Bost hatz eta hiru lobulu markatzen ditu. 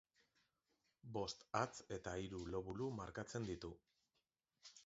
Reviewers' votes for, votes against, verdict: 0, 2, rejected